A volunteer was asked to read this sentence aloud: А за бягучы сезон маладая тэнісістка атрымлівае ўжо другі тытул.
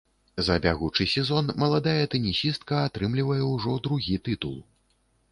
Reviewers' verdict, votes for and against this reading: rejected, 1, 2